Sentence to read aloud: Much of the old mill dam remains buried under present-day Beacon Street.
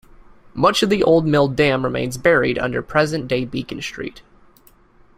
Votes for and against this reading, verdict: 2, 0, accepted